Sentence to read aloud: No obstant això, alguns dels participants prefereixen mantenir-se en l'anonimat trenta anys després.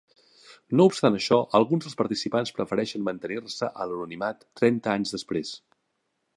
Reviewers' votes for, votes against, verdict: 2, 0, accepted